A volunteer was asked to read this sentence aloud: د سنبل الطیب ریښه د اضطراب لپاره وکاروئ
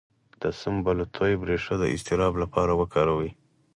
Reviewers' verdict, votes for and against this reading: accepted, 4, 2